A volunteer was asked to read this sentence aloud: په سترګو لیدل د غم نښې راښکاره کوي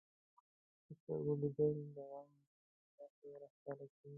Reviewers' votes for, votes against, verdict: 0, 2, rejected